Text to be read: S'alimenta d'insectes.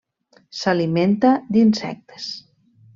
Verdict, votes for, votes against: rejected, 1, 2